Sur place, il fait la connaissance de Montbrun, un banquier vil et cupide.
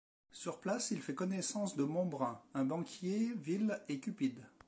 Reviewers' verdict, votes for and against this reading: rejected, 0, 2